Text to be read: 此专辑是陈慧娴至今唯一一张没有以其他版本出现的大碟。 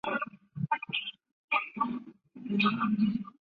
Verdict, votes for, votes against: rejected, 3, 4